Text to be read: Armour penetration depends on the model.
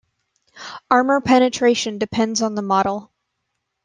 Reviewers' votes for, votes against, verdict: 2, 0, accepted